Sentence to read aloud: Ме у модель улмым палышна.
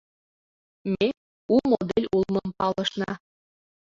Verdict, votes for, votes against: rejected, 0, 2